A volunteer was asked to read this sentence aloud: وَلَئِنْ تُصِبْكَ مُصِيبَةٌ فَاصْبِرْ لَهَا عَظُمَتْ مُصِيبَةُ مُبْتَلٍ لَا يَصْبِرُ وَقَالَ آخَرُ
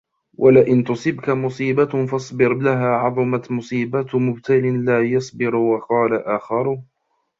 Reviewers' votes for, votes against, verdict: 2, 0, accepted